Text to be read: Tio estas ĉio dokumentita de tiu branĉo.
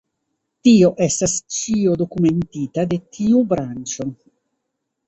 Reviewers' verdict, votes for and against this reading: rejected, 1, 2